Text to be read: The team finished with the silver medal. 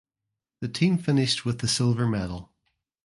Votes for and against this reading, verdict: 2, 0, accepted